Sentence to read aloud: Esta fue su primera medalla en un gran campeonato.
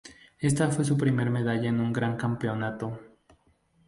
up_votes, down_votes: 0, 2